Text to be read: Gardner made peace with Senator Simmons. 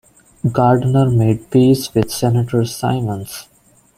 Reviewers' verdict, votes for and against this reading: rejected, 0, 2